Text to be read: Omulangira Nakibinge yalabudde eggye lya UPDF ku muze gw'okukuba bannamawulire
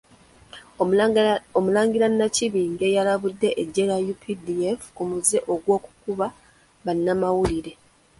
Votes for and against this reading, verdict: 1, 2, rejected